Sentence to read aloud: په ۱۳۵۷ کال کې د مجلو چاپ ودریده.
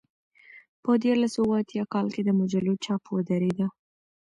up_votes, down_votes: 0, 2